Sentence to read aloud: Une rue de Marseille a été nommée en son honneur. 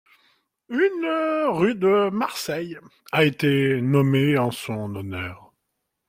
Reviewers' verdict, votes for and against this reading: accepted, 2, 1